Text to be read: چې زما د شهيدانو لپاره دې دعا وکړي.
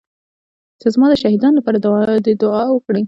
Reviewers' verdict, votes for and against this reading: rejected, 1, 2